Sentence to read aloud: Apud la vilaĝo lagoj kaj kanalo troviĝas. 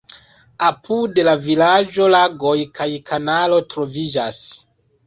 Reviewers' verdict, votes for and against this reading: accepted, 2, 0